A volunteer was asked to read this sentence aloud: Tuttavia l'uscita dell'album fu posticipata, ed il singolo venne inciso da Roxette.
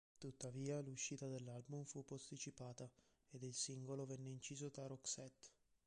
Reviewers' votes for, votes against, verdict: 0, 2, rejected